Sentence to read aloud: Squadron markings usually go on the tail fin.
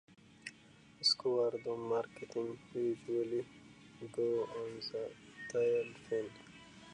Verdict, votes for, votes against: rejected, 0, 2